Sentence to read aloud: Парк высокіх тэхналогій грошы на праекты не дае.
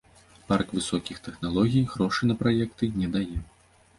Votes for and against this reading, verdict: 2, 0, accepted